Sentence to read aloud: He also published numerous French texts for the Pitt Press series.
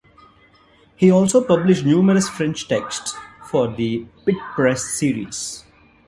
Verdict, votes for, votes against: accepted, 3, 0